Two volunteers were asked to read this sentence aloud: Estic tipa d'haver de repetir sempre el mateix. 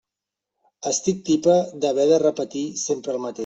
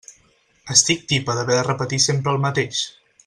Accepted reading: second